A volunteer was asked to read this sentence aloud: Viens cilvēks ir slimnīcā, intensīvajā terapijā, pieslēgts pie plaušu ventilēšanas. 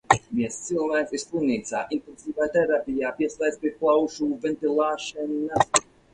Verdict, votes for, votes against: rejected, 0, 4